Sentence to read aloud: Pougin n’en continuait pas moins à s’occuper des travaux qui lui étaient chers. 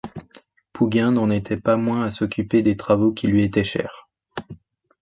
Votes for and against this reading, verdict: 1, 2, rejected